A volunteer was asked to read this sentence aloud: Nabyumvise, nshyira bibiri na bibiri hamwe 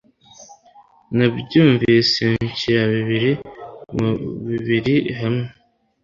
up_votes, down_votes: 1, 2